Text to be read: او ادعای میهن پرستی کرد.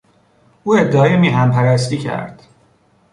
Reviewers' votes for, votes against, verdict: 2, 0, accepted